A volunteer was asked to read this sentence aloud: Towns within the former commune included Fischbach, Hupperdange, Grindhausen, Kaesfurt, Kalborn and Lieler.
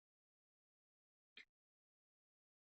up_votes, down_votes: 0, 2